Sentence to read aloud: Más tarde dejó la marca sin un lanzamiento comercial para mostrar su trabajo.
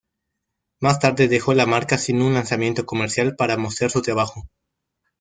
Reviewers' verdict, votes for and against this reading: accepted, 2, 0